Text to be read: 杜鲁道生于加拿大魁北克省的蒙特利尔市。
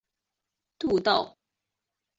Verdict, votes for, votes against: rejected, 1, 2